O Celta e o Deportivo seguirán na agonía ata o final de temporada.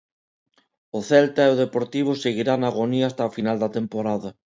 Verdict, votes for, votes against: accepted, 2, 1